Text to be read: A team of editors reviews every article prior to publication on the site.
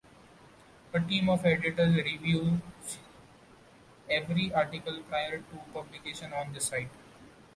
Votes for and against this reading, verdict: 2, 0, accepted